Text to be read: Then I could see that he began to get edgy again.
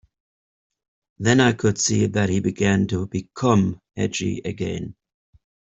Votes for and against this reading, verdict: 0, 2, rejected